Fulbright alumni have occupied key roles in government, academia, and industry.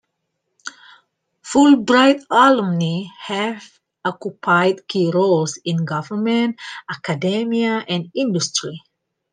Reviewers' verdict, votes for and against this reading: accepted, 2, 0